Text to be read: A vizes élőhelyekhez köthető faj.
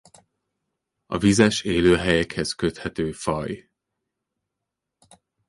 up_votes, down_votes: 0, 2